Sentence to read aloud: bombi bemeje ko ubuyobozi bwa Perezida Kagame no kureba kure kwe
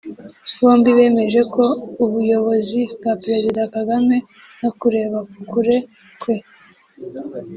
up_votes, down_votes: 1, 2